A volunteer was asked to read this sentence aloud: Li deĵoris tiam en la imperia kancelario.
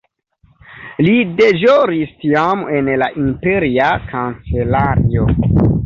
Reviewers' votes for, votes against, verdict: 1, 2, rejected